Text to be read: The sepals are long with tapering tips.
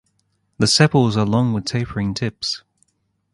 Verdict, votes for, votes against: accepted, 2, 0